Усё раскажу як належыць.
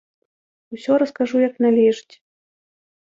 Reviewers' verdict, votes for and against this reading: accepted, 2, 0